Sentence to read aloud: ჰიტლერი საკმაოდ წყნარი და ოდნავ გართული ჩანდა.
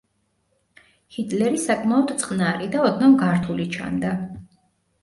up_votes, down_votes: 3, 0